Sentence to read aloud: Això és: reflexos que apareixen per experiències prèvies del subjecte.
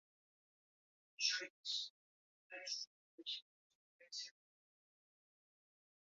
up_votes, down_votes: 0, 2